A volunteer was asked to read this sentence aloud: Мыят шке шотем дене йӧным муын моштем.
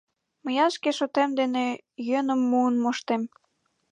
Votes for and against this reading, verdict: 5, 0, accepted